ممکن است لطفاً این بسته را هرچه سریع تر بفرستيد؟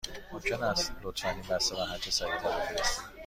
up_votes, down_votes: 2, 0